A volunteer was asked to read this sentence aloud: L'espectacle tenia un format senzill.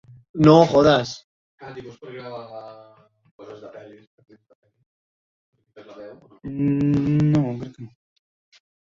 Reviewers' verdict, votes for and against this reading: rejected, 0, 3